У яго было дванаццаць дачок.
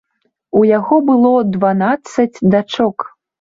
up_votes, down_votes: 2, 0